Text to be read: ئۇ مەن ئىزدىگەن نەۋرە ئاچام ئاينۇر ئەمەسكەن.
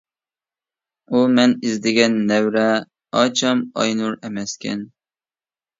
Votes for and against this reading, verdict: 2, 0, accepted